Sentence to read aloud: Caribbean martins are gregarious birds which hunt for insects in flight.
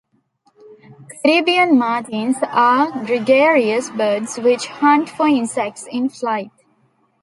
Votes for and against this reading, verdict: 2, 0, accepted